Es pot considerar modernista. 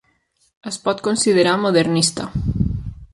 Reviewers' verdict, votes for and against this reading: accepted, 4, 0